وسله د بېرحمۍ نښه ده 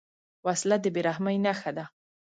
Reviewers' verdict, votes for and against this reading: accepted, 2, 0